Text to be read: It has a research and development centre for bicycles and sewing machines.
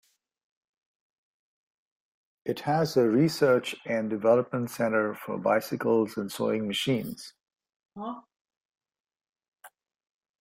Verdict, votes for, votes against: rejected, 0, 2